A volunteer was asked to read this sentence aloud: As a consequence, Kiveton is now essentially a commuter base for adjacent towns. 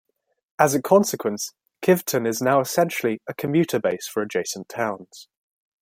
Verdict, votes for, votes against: accepted, 2, 0